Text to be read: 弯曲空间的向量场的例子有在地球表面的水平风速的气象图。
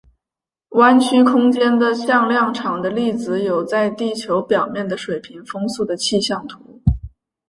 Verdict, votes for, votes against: accepted, 2, 1